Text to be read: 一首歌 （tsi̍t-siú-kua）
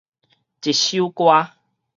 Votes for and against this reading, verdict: 4, 0, accepted